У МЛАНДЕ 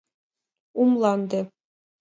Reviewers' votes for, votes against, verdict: 2, 0, accepted